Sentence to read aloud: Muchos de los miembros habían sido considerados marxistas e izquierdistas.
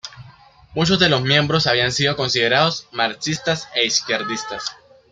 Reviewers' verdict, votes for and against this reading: rejected, 0, 2